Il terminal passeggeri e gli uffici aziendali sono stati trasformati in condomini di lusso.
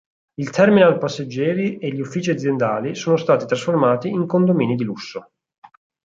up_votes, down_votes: 4, 0